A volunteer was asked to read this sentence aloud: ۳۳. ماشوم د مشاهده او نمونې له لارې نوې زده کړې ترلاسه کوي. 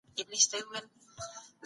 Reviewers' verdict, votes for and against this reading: rejected, 0, 2